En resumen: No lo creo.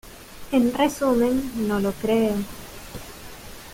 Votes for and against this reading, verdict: 2, 3, rejected